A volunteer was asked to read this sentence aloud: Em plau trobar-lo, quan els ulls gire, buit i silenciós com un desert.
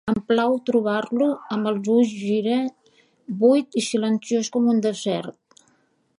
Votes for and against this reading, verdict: 1, 2, rejected